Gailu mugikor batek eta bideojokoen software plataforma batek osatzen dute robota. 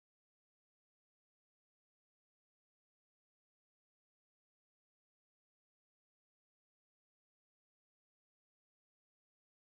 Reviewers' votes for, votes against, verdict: 0, 3, rejected